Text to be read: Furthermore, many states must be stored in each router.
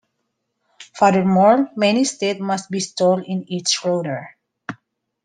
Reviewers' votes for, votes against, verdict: 0, 2, rejected